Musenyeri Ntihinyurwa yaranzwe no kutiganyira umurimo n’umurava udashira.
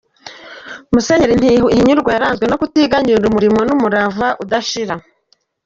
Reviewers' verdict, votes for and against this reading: accepted, 2, 0